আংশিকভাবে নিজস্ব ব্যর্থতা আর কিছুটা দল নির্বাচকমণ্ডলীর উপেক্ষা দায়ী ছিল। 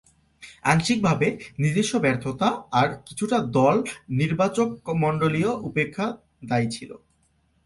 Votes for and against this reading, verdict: 1, 2, rejected